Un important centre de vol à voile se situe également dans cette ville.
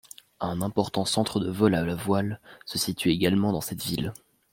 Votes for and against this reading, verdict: 0, 2, rejected